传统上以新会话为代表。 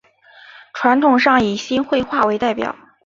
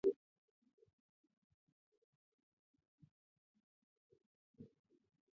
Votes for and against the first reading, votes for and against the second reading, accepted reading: 3, 1, 0, 2, first